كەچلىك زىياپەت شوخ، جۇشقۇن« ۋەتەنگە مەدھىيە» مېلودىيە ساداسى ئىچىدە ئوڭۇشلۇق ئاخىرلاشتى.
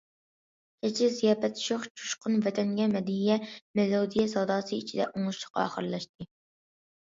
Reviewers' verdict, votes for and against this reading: accepted, 2, 0